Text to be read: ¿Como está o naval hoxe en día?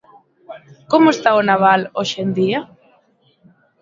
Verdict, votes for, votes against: accepted, 5, 0